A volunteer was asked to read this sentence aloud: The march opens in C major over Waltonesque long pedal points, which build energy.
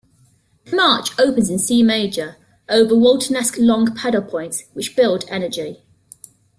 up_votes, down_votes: 2, 1